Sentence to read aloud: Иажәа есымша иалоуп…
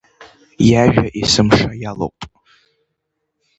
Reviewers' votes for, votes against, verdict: 1, 2, rejected